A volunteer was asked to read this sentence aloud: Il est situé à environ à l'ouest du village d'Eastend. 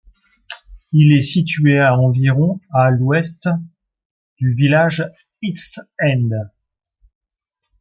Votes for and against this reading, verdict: 1, 2, rejected